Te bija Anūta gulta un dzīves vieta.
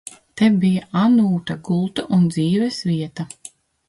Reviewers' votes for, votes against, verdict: 2, 0, accepted